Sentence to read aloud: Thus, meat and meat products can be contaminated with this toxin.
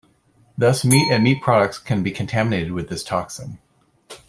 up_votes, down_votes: 2, 0